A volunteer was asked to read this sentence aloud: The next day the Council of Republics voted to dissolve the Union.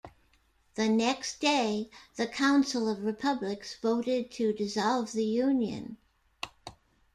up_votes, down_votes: 2, 0